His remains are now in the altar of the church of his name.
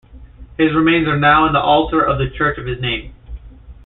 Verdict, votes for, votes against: accepted, 2, 0